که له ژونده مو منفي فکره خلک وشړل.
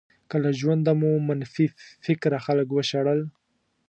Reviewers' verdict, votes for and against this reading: accepted, 2, 0